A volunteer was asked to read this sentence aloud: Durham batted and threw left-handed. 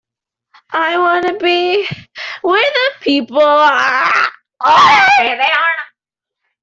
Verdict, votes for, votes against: rejected, 0, 2